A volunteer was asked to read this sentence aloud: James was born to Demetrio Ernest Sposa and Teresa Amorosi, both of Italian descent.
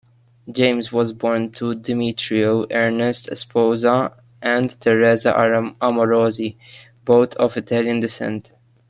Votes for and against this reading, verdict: 1, 2, rejected